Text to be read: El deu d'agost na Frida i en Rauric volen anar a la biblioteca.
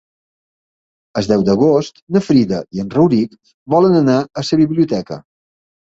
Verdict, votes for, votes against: rejected, 0, 3